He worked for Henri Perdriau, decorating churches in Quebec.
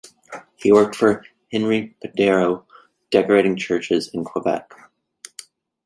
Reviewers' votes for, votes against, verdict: 2, 1, accepted